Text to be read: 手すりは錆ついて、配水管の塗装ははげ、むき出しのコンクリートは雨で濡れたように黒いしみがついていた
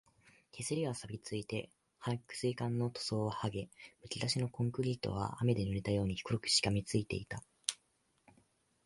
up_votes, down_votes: 1, 3